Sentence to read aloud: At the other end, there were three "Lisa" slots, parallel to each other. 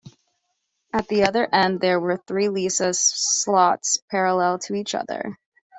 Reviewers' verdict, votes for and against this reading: rejected, 1, 2